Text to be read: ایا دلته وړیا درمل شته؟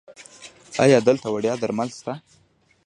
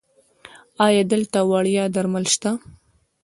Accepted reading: first